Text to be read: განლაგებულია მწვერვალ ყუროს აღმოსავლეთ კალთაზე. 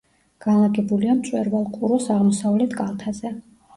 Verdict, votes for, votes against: accepted, 2, 0